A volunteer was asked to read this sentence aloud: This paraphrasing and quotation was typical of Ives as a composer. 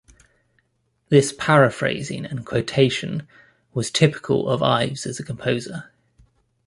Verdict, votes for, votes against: accepted, 2, 0